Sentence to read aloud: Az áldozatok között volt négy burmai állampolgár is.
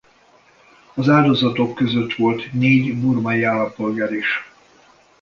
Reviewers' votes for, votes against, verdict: 2, 0, accepted